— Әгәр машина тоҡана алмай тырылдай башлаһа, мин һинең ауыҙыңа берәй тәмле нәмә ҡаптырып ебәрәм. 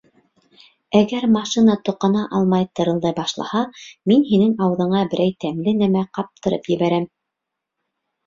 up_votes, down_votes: 2, 0